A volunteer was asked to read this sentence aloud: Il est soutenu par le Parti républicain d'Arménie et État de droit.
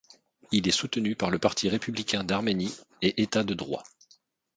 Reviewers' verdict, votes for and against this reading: accepted, 2, 0